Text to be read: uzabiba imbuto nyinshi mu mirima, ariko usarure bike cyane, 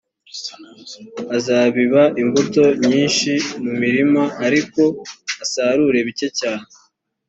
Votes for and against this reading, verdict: 2, 0, accepted